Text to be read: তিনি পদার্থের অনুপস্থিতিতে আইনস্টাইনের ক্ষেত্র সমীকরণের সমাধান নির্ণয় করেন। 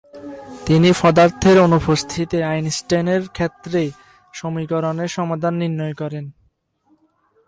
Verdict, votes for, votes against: rejected, 0, 2